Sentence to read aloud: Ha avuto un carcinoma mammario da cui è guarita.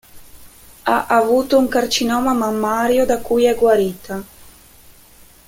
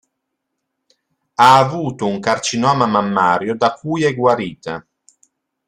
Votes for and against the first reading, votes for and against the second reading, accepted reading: 0, 2, 2, 0, second